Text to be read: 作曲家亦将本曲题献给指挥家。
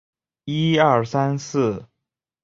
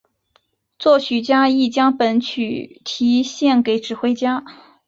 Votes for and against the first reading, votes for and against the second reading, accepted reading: 0, 2, 5, 2, second